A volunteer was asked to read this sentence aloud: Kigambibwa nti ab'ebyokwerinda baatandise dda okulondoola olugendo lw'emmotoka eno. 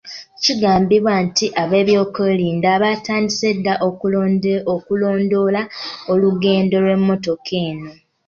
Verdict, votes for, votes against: rejected, 0, 2